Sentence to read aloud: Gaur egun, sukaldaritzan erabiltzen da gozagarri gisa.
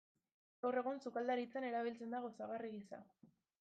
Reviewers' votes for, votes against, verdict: 2, 1, accepted